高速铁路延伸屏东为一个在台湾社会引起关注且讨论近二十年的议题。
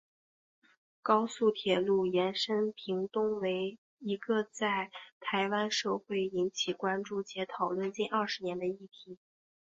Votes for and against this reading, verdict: 4, 0, accepted